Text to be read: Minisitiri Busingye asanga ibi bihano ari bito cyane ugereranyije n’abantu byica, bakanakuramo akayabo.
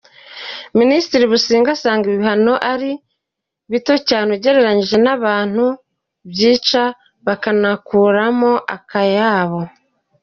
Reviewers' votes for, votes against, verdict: 2, 0, accepted